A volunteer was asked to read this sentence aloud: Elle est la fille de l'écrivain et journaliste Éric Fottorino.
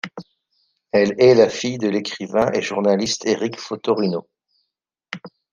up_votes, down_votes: 2, 0